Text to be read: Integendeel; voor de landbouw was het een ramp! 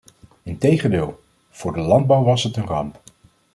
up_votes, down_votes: 2, 0